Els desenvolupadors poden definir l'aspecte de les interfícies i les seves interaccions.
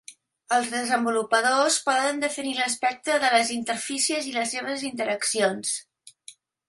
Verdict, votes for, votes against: accepted, 2, 0